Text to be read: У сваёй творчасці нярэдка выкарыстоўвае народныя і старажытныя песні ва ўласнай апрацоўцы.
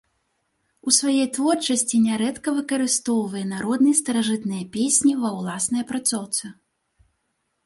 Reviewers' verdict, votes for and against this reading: rejected, 0, 2